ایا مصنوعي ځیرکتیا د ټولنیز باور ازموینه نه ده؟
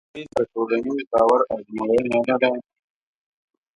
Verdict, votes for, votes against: rejected, 0, 2